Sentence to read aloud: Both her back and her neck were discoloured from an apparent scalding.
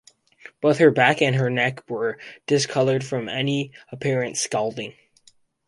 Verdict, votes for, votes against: accepted, 4, 2